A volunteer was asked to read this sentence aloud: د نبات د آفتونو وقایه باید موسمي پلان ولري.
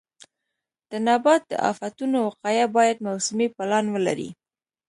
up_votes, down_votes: 2, 0